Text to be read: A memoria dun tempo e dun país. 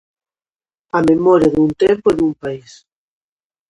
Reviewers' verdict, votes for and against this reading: accepted, 2, 0